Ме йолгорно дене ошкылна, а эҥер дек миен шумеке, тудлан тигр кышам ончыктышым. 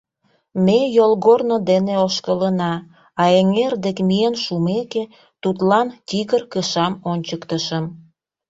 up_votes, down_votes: 0, 2